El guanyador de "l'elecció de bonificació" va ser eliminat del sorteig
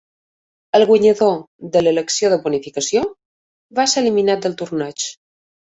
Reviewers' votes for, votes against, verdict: 1, 2, rejected